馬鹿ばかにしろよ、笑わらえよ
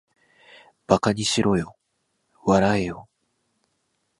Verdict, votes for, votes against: rejected, 0, 2